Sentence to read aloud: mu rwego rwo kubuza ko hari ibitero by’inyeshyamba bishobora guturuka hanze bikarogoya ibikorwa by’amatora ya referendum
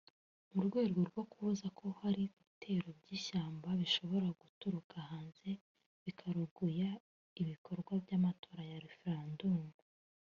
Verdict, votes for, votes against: rejected, 1, 2